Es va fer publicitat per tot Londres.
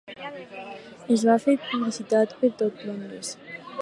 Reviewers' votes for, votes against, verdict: 4, 0, accepted